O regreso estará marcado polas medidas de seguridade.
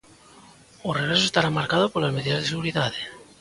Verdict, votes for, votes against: accepted, 2, 0